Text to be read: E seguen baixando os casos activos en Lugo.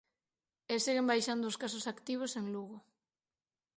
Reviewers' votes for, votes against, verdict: 6, 0, accepted